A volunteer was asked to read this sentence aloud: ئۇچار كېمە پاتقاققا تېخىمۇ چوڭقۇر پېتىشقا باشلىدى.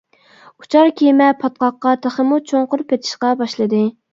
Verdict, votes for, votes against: accepted, 2, 0